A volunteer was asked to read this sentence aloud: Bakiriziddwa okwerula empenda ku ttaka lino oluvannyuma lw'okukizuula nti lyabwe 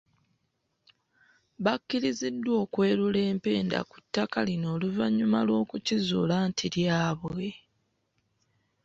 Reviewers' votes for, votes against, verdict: 1, 2, rejected